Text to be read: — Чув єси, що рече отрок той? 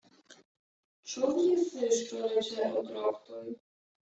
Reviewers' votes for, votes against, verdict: 0, 2, rejected